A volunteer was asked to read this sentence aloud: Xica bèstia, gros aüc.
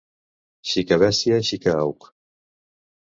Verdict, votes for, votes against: rejected, 0, 2